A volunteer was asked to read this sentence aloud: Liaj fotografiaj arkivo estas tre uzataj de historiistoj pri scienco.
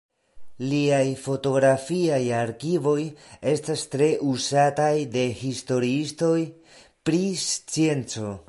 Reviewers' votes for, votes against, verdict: 1, 2, rejected